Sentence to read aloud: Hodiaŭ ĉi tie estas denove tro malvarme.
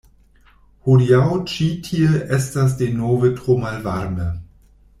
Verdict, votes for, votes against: rejected, 1, 2